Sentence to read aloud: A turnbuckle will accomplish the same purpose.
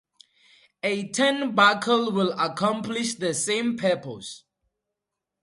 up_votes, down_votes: 4, 0